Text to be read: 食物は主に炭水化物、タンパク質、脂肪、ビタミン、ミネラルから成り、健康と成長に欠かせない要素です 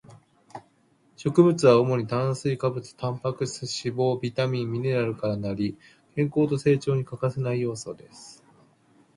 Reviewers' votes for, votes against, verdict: 2, 0, accepted